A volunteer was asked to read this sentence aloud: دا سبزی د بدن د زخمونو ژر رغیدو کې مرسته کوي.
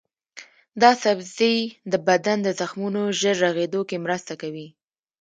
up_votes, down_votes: 1, 2